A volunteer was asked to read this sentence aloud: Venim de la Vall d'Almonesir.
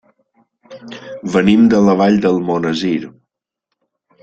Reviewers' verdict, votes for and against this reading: accepted, 2, 0